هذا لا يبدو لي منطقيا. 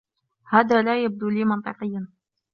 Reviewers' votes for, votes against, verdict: 0, 2, rejected